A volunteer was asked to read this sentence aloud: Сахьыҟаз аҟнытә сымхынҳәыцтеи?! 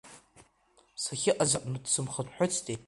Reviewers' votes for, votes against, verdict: 1, 2, rejected